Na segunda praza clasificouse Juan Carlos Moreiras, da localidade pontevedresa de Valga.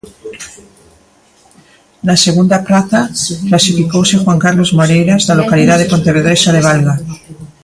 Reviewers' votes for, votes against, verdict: 1, 2, rejected